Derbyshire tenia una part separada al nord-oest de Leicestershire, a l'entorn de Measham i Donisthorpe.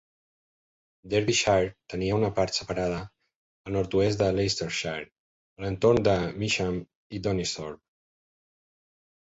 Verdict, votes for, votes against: accepted, 2, 0